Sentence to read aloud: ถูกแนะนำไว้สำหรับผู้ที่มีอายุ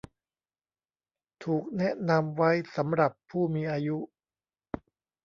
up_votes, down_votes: 1, 2